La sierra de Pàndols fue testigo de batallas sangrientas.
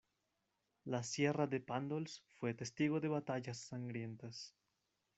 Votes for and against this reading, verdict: 0, 2, rejected